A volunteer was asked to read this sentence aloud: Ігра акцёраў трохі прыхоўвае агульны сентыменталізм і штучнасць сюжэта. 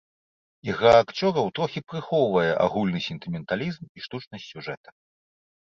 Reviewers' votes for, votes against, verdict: 2, 0, accepted